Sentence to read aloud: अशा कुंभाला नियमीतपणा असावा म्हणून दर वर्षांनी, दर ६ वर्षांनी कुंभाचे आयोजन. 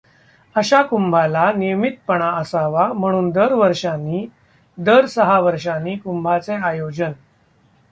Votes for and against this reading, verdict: 0, 2, rejected